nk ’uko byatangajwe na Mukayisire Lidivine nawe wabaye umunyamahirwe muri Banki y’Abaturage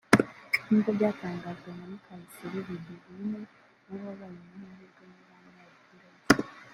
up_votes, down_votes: 1, 2